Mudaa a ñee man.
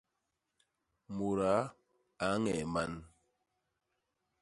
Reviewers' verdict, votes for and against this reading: accepted, 2, 0